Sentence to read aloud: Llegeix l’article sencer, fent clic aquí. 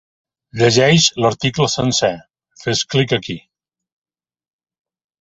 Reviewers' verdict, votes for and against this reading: rejected, 0, 2